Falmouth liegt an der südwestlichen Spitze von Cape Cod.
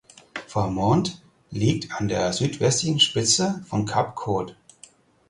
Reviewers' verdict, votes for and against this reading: rejected, 2, 4